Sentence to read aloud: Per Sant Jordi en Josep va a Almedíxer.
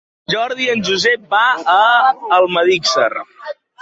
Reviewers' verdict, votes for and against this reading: rejected, 0, 2